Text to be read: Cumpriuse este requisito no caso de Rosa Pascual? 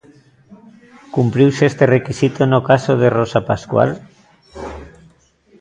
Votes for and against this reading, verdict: 2, 0, accepted